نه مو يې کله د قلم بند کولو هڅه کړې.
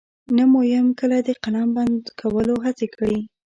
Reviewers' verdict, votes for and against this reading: accepted, 2, 0